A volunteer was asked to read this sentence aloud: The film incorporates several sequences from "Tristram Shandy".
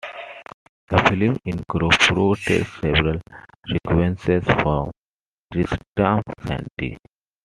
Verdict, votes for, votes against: accepted, 2, 0